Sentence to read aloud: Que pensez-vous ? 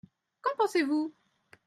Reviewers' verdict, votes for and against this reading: rejected, 0, 2